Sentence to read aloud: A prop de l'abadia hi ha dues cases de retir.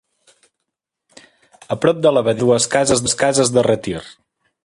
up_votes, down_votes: 0, 3